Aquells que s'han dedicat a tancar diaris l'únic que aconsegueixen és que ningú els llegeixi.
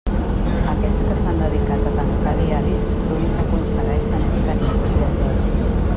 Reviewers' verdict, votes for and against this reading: rejected, 1, 2